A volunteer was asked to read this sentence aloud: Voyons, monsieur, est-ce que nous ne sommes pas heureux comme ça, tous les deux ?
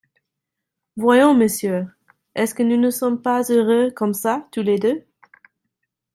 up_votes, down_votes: 2, 0